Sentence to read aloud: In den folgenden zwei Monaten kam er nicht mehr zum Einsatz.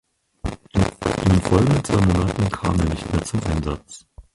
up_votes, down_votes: 0, 4